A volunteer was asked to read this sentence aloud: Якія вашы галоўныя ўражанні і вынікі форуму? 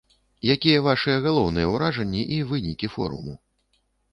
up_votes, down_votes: 2, 0